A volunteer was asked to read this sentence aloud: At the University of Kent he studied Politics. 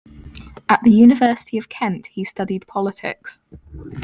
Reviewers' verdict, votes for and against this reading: accepted, 4, 0